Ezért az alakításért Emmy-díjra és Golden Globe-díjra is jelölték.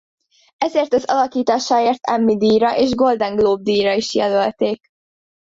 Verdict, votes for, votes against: rejected, 0, 2